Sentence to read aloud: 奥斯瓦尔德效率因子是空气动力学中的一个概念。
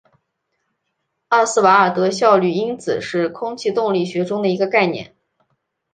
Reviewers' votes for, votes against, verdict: 2, 1, accepted